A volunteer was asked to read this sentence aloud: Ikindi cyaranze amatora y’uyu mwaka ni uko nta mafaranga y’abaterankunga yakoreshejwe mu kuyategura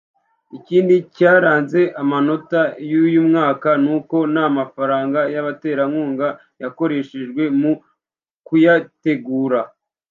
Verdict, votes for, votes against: rejected, 0, 2